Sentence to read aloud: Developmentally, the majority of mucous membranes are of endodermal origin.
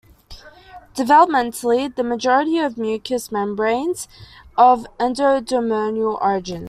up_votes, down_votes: 0, 2